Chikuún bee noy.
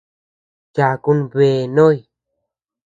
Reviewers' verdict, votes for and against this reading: rejected, 1, 2